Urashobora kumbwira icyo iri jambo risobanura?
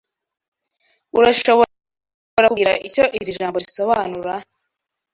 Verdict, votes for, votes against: rejected, 0, 2